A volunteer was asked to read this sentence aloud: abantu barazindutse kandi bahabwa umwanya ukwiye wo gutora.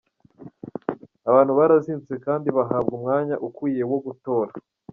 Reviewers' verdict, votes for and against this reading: rejected, 1, 2